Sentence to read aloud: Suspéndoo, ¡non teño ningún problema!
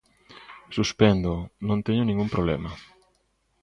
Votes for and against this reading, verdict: 2, 0, accepted